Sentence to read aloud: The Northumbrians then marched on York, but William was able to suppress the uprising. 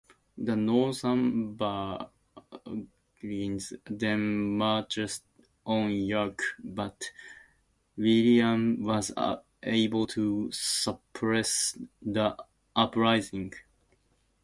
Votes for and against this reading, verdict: 0, 2, rejected